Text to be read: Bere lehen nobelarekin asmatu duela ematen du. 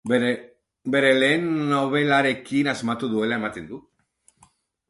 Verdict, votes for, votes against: rejected, 4, 6